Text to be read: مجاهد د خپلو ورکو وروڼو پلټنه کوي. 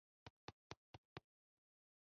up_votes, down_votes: 2, 0